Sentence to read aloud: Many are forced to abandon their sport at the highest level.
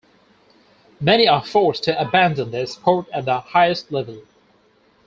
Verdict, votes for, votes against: accepted, 4, 0